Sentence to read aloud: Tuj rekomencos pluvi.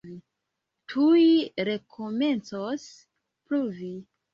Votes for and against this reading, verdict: 2, 1, accepted